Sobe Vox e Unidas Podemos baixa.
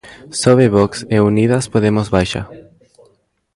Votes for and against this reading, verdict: 0, 2, rejected